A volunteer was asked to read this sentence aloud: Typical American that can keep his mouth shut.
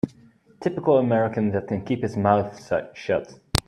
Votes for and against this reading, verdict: 0, 2, rejected